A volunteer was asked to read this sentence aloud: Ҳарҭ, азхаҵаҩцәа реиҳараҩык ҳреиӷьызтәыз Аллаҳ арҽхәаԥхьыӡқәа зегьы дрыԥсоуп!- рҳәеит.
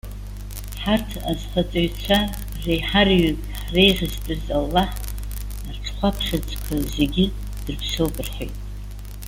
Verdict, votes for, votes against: rejected, 0, 2